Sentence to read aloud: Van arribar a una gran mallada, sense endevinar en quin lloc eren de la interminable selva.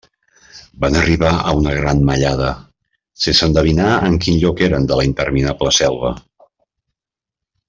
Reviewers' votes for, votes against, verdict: 2, 0, accepted